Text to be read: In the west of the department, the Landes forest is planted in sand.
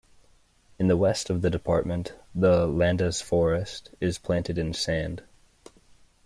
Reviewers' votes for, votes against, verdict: 2, 0, accepted